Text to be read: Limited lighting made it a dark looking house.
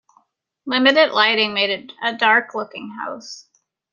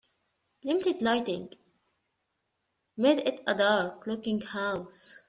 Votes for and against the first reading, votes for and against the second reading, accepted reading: 2, 0, 0, 2, first